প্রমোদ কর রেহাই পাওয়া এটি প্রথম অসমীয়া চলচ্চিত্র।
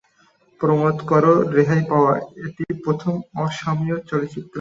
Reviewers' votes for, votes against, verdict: 2, 3, rejected